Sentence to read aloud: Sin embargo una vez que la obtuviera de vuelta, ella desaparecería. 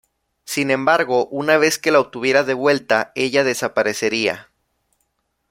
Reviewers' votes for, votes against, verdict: 2, 0, accepted